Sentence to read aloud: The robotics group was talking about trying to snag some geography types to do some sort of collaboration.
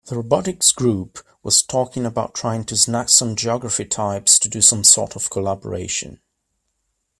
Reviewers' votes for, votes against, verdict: 2, 0, accepted